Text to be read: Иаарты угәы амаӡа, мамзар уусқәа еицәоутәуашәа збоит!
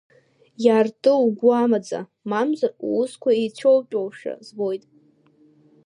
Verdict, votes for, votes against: accepted, 2, 0